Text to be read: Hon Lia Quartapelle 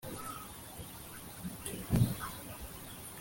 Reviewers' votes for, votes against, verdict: 0, 2, rejected